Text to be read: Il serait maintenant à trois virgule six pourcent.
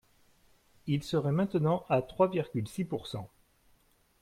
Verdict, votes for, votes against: accepted, 2, 1